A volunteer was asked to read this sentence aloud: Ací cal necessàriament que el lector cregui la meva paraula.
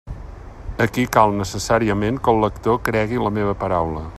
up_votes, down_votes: 1, 2